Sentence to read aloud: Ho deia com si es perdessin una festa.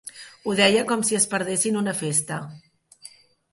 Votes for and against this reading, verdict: 3, 0, accepted